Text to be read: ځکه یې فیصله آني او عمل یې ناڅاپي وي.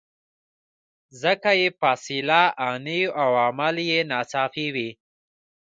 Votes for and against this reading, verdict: 1, 2, rejected